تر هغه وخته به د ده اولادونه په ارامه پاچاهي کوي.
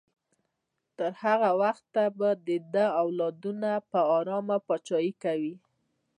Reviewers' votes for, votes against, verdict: 2, 0, accepted